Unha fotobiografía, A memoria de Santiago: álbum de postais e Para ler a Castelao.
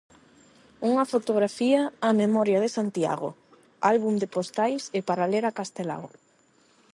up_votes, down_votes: 0, 8